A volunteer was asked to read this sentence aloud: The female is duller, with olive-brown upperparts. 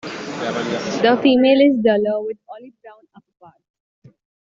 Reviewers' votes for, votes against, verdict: 0, 2, rejected